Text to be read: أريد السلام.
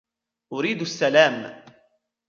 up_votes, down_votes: 1, 2